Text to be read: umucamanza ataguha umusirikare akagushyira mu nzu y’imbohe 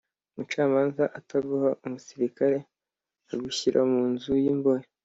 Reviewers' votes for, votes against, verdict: 2, 0, accepted